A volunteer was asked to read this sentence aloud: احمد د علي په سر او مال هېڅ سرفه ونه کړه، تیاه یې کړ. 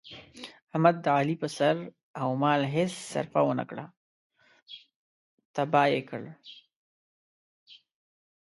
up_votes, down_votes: 1, 2